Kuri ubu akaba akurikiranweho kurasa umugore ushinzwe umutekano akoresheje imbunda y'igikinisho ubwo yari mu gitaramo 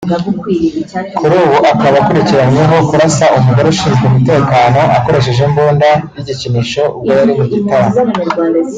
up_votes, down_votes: 2, 0